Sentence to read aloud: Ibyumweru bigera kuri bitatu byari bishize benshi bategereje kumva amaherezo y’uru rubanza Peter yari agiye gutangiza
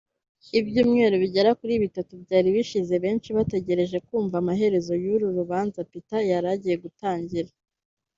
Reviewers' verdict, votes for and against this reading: rejected, 1, 2